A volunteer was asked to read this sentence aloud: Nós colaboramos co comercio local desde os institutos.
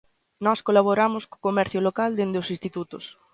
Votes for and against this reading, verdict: 1, 2, rejected